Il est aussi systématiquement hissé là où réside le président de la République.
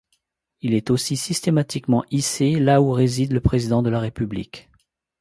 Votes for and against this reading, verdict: 2, 0, accepted